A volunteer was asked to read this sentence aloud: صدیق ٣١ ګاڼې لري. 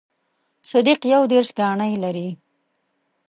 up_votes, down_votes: 0, 2